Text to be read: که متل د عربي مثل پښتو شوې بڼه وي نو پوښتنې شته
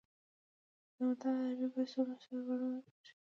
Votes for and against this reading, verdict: 1, 2, rejected